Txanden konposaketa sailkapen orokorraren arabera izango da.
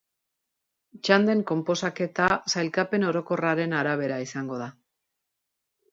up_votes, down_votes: 2, 0